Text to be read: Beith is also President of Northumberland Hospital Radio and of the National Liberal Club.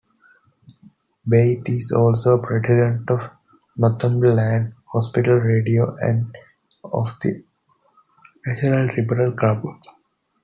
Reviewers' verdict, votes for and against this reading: accepted, 2, 1